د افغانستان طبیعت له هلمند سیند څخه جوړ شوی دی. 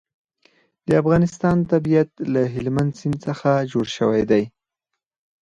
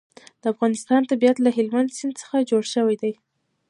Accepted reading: first